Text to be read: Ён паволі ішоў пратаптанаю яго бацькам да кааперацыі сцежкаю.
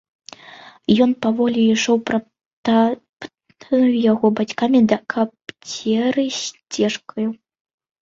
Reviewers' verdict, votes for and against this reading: rejected, 0, 2